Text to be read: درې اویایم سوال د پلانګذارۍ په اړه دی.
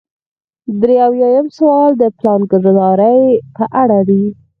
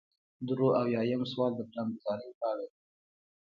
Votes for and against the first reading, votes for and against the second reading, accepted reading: 2, 4, 2, 0, second